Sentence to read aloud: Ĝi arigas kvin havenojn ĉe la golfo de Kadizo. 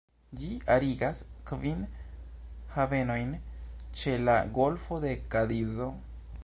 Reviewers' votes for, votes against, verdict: 2, 0, accepted